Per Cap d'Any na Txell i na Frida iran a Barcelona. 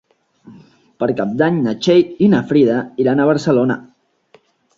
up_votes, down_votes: 3, 0